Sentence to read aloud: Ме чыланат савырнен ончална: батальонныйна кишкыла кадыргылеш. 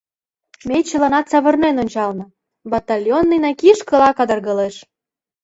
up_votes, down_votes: 2, 0